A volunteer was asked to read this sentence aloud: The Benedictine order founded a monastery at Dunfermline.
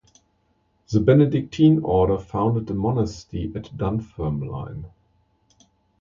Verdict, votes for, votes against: rejected, 1, 2